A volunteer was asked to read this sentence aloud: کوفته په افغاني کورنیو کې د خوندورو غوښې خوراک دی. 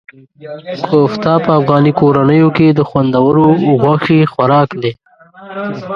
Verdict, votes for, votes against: rejected, 1, 2